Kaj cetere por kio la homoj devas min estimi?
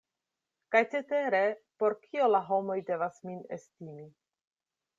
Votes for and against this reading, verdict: 2, 0, accepted